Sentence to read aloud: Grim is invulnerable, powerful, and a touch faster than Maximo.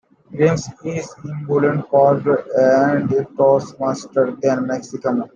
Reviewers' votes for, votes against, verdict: 0, 2, rejected